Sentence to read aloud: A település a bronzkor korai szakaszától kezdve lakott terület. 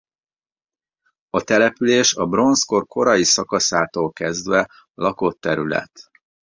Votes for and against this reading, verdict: 2, 0, accepted